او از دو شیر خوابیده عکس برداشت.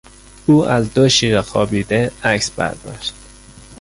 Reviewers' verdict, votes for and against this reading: accepted, 2, 1